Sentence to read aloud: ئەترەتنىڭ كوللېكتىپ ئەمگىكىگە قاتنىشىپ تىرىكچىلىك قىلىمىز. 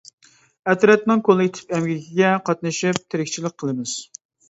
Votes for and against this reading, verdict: 2, 0, accepted